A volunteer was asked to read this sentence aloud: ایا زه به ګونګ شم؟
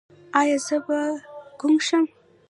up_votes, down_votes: 1, 2